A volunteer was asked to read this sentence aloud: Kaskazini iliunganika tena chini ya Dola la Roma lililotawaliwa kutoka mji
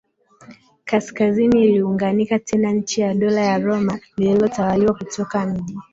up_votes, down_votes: 1, 2